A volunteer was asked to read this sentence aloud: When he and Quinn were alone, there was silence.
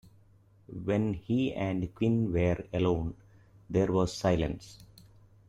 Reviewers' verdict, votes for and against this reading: accepted, 2, 0